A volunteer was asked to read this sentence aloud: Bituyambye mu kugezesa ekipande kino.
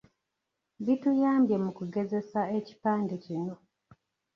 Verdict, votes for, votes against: accepted, 2, 0